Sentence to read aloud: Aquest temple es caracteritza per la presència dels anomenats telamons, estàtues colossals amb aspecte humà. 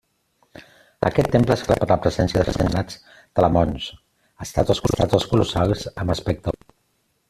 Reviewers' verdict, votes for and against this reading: rejected, 0, 2